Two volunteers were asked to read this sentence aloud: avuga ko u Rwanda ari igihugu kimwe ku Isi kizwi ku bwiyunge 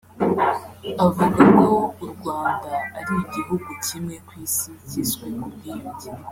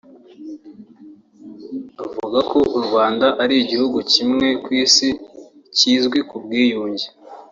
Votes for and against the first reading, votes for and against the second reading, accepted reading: 1, 2, 2, 0, second